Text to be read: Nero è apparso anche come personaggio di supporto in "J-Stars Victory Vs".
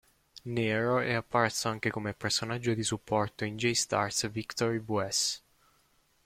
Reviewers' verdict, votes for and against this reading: rejected, 0, 2